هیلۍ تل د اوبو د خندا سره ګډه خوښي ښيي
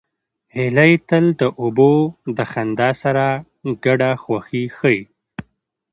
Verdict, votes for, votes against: accepted, 2, 0